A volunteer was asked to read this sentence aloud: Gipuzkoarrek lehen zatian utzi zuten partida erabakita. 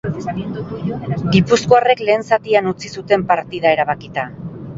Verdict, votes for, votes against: rejected, 0, 2